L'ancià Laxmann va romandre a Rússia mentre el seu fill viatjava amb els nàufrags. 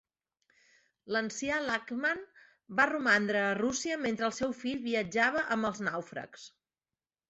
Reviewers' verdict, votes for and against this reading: accepted, 4, 0